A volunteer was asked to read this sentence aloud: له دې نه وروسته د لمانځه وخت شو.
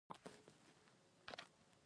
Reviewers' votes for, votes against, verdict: 1, 2, rejected